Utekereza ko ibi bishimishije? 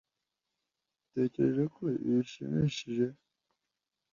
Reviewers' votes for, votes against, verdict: 2, 1, accepted